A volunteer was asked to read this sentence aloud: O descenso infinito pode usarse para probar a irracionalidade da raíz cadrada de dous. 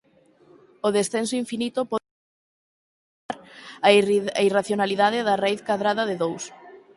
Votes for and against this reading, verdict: 0, 4, rejected